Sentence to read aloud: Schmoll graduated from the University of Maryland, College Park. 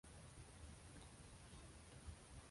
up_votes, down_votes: 0, 2